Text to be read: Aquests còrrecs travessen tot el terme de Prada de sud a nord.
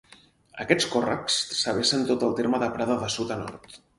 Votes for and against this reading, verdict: 4, 0, accepted